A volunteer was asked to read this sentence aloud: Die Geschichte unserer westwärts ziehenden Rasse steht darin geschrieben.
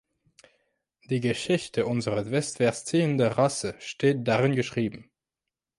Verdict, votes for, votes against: rejected, 1, 3